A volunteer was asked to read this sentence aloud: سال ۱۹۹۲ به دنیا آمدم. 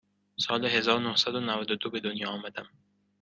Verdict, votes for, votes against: rejected, 0, 2